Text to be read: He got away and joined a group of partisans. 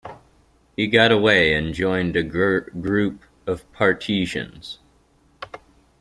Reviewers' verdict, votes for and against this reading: rejected, 0, 2